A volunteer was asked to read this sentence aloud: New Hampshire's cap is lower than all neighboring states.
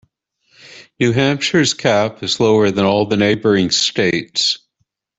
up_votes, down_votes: 0, 2